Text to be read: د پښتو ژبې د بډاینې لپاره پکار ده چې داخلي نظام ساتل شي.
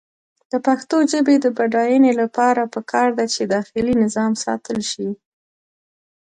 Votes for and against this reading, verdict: 2, 0, accepted